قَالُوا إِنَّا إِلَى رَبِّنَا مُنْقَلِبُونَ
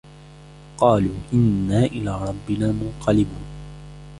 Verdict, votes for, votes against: rejected, 1, 2